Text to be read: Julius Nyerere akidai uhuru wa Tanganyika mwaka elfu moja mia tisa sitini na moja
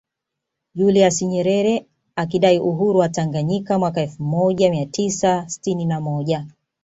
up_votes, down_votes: 2, 0